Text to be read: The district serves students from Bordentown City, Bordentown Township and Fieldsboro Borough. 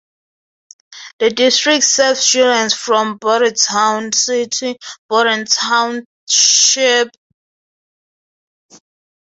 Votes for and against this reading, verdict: 0, 2, rejected